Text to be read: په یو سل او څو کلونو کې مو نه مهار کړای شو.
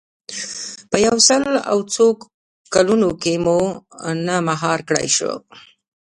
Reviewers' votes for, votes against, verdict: 1, 2, rejected